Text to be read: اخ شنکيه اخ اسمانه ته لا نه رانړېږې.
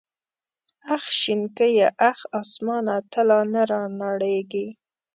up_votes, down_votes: 2, 0